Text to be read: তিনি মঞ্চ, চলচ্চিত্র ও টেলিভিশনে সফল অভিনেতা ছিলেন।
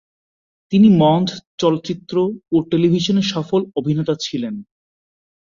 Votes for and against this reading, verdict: 2, 0, accepted